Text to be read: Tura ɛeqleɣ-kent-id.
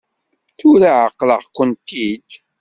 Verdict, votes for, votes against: accepted, 2, 0